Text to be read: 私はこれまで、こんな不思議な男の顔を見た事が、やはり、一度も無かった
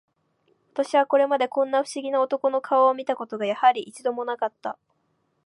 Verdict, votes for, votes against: accepted, 2, 0